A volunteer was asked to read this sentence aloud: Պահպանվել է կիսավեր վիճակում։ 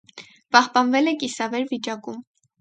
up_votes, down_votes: 4, 0